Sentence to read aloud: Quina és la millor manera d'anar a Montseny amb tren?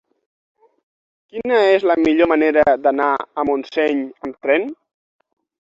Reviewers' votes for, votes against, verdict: 3, 3, rejected